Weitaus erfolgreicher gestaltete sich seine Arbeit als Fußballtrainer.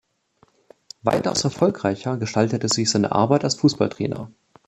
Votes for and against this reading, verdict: 3, 1, accepted